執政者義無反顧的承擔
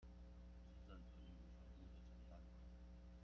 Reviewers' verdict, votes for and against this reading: rejected, 0, 2